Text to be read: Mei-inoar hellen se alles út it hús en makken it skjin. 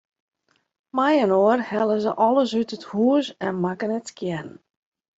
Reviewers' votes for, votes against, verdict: 2, 0, accepted